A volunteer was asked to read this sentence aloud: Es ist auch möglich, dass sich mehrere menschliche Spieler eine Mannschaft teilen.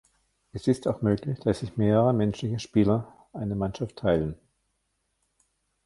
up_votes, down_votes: 1, 2